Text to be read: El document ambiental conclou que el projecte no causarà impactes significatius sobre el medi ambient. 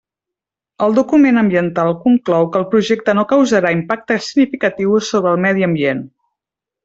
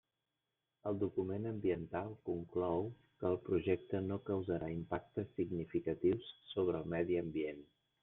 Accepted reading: first